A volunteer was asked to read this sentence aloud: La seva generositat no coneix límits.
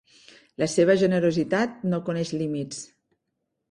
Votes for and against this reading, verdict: 3, 0, accepted